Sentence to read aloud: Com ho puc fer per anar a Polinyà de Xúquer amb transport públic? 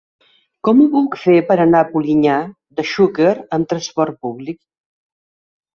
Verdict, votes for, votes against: accepted, 2, 0